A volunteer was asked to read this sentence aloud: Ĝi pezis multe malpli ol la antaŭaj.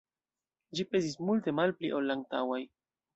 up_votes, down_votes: 0, 2